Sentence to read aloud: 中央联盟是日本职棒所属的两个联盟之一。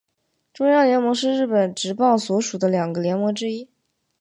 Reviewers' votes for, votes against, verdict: 4, 0, accepted